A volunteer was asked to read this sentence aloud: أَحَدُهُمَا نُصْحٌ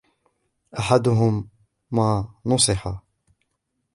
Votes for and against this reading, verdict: 0, 2, rejected